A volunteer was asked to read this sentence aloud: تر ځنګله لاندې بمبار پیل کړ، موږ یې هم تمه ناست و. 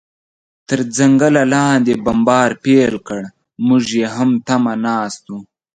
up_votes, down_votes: 2, 0